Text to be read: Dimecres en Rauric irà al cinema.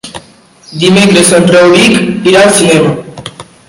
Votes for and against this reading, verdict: 2, 0, accepted